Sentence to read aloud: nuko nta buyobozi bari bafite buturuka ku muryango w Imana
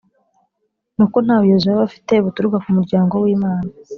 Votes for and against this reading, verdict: 3, 0, accepted